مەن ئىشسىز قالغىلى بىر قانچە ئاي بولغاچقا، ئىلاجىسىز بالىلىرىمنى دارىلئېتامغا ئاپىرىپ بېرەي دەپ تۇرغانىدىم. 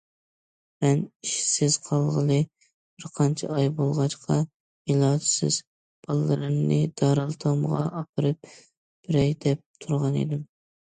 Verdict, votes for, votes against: accepted, 2, 0